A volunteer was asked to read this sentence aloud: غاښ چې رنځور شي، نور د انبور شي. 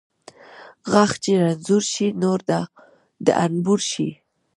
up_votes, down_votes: 1, 2